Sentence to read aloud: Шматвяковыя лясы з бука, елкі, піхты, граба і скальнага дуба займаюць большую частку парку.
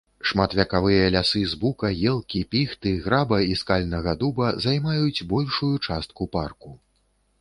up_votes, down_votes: 1, 2